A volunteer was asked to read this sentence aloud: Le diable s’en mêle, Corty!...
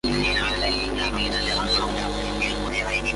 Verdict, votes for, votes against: rejected, 0, 2